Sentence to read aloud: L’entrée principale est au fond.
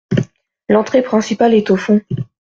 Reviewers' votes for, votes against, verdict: 2, 0, accepted